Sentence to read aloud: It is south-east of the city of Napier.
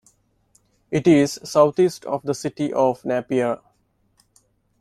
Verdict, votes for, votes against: accepted, 2, 0